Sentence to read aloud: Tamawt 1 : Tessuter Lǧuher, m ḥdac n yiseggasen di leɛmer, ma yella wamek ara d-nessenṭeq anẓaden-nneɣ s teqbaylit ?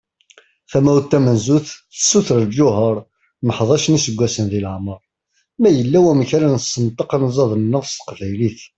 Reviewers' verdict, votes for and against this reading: rejected, 0, 2